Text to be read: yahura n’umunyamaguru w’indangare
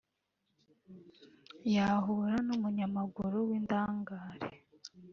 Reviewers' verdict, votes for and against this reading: rejected, 1, 2